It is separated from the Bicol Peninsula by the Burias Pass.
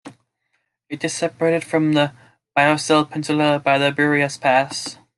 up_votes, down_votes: 1, 2